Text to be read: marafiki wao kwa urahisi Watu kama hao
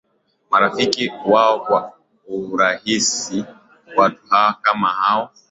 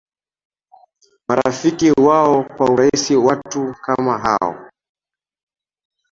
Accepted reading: second